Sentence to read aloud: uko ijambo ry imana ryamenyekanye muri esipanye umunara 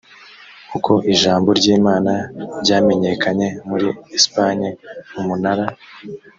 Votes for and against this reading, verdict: 3, 0, accepted